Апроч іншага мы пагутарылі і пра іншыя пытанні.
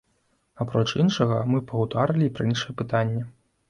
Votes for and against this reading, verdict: 2, 1, accepted